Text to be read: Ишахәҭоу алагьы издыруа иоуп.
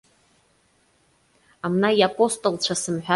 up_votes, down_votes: 0, 2